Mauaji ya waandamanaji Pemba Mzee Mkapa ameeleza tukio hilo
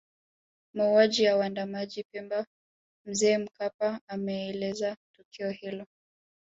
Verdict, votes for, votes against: accepted, 2, 0